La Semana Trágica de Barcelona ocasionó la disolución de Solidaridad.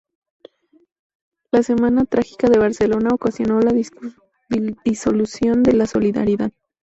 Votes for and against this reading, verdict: 2, 2, rejected